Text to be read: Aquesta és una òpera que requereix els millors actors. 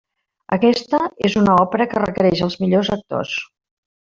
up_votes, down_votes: 1, 2